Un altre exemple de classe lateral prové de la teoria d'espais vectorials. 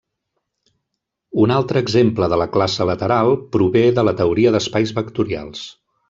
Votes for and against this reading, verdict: 1, 2, rejected